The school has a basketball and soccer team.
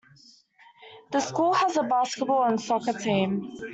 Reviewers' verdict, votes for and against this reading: accepted, 2, 0